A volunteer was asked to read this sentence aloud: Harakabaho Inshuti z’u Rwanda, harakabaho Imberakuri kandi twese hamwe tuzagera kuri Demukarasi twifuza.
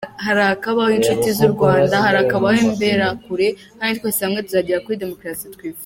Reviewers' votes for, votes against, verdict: 2, 1, accepted